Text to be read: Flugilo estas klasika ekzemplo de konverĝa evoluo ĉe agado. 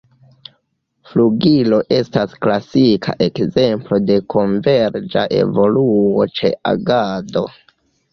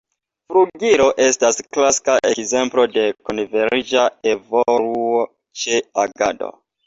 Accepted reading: second